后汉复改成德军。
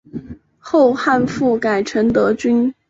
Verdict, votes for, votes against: accepted, 5, 1